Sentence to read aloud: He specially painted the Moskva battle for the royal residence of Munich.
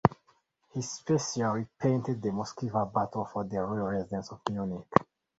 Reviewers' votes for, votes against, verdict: 2, 0, accepted